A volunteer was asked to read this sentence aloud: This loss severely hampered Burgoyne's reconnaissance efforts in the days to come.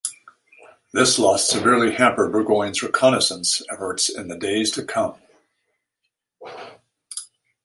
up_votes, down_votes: 2, 0